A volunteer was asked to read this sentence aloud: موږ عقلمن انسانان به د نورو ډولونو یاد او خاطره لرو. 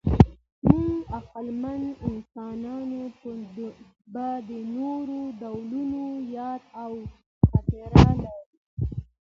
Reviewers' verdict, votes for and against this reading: accepted, 2, 0